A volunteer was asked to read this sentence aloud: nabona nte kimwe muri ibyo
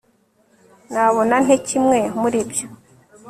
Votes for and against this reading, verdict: 3, 0, accepted